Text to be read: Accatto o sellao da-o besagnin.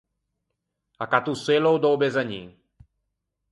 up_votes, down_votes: 4, 0